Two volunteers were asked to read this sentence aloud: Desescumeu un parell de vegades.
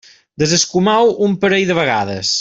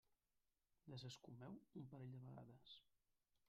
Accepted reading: first